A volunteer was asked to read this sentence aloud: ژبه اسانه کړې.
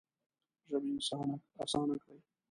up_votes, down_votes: 0, 2